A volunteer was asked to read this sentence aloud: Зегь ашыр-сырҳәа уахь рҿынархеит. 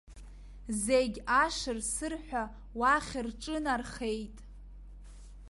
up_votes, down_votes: 1, 2